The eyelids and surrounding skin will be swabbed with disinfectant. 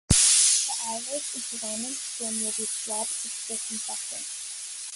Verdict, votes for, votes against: rejected, 0, 2